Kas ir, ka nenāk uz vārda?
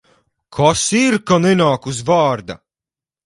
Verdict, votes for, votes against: accepted, 4, 0